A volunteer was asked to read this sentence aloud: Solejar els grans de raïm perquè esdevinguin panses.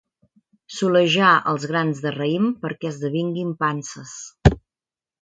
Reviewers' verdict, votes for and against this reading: accepted, 2, 0